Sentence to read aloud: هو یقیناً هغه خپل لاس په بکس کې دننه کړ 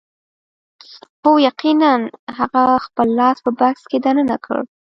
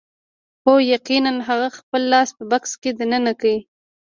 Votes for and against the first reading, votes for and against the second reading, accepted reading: 1, 2, 2, 0, second